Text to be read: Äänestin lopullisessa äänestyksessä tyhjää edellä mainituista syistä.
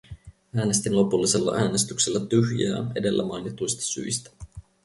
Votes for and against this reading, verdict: 2, 2, rejected